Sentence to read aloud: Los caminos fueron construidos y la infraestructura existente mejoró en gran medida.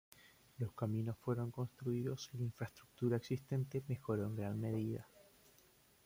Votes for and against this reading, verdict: 2, 1, accepted